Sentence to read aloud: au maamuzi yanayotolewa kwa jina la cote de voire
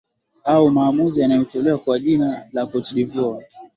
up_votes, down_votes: 2, 0